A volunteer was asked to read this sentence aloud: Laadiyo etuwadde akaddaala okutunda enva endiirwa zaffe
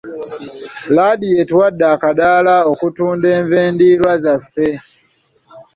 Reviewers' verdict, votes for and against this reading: accepted, 2, 0